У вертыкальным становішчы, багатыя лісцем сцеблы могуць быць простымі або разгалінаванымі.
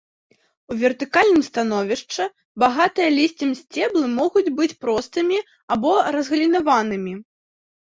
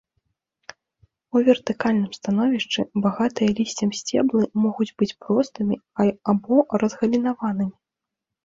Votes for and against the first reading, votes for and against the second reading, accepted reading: 2, 0, 1, 3, first